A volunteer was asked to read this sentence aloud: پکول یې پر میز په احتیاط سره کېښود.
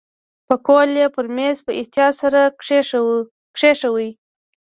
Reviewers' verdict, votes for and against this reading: accepted, 2, 0